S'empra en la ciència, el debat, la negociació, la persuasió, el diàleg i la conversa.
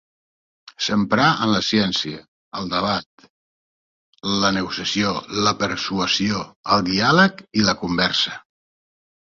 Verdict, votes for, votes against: rejected, 0, 2